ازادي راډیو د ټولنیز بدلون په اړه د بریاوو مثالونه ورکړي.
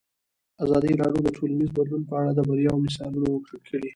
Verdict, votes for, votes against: accepted, 2, 0